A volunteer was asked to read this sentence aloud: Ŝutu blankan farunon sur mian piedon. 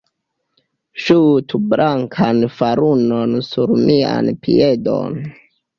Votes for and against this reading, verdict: 1, 2, rejected